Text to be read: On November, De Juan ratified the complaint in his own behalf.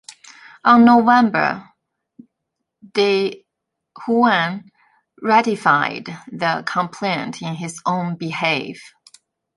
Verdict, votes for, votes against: rejected, 0, 2